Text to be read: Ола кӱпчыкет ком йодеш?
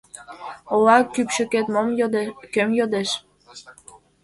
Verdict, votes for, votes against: rejected, 1, 2